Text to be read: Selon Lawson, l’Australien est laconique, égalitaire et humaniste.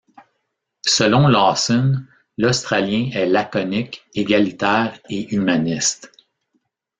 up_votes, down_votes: 2, 1